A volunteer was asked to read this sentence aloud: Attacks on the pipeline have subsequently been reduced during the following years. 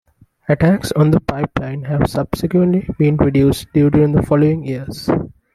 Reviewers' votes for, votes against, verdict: 2, 0, accepted